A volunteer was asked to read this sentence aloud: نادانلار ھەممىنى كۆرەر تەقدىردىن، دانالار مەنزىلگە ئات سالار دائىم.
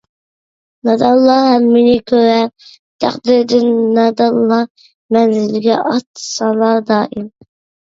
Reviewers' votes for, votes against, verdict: 1, 2, rejected